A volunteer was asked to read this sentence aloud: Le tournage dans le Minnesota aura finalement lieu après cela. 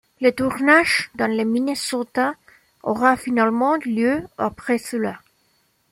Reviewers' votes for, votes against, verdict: 2, 0, accepted